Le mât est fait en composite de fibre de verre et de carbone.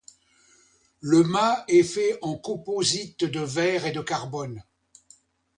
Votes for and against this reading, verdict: 0, 2, rejected